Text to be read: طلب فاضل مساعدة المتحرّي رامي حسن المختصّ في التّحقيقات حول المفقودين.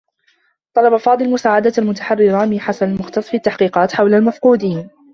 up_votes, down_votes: 1, 2